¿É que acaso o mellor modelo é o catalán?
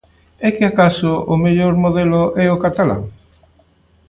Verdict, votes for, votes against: accepted, 2, 0